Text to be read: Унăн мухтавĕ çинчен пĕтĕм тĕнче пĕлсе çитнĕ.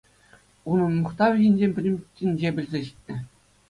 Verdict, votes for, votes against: accepted, 2, 1